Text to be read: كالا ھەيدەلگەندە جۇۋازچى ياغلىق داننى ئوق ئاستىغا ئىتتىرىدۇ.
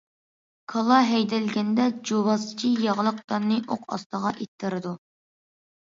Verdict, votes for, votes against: accepted, 2, 0